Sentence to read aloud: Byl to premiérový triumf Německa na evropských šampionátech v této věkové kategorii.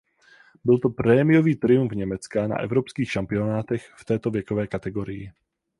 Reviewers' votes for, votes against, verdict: 4, 4, rejected